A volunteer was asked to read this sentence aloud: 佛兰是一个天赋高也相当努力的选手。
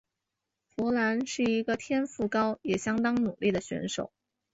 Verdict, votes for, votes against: accepted, 2, 0